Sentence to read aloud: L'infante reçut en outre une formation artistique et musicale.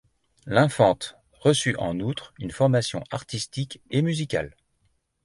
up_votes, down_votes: 2, 0